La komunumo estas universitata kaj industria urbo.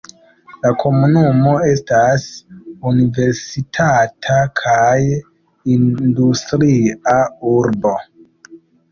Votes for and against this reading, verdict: 1, 2, rejected